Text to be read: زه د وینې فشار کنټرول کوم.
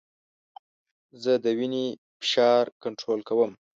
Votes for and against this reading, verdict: 2, 0, accepted